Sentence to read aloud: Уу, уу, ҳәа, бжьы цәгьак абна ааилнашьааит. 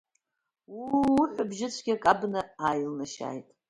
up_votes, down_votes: 2, 0